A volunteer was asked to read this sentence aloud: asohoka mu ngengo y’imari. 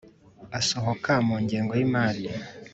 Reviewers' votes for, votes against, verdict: 3, 0, accepted